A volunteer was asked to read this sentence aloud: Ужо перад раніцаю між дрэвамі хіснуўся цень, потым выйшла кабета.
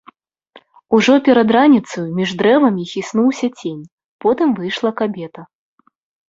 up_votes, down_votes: 2, 0